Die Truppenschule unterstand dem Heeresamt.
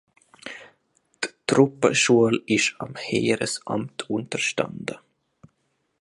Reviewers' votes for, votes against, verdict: 0, 2, rejected